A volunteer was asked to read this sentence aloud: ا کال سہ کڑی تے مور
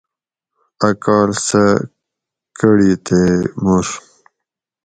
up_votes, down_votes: 4, 0